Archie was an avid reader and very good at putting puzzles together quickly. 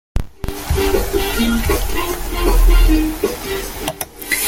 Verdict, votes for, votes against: rejected, 0, 2